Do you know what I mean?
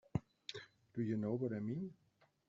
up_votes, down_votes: 1, 2